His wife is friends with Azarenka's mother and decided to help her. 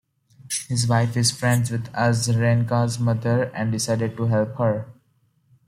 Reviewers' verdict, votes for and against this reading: accepted, 2, 0